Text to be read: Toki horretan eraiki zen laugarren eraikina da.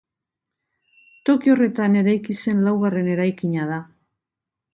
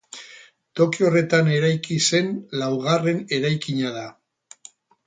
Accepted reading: first